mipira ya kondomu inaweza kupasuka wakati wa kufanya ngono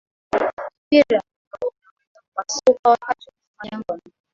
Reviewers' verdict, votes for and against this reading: rejected, 0, 2